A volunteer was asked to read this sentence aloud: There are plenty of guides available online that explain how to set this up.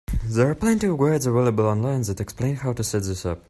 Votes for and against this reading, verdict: 1, 2, rejected